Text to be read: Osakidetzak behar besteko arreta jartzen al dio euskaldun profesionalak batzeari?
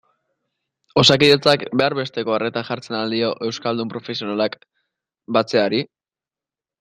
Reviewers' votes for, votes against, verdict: 2, 0, accepted